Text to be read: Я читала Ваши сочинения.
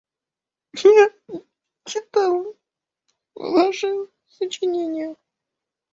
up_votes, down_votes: 0, 2